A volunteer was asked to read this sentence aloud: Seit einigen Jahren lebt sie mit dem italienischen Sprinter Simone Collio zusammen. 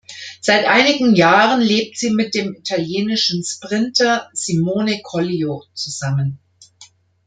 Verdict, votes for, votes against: accepted, 2, 0